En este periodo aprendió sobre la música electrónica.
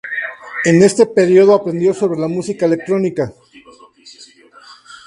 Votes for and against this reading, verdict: 2, 0, accepted